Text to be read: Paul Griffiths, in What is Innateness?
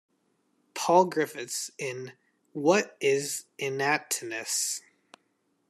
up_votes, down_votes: 1, 2